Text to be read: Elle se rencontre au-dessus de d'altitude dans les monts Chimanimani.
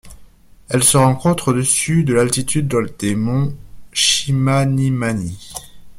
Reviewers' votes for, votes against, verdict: 1, 2, rejected